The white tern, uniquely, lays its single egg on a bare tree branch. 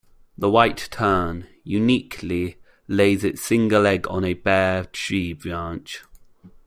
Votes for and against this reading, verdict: 1, 2, rejected